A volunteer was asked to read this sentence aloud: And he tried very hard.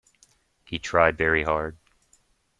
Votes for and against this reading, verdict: 0, 2, rejected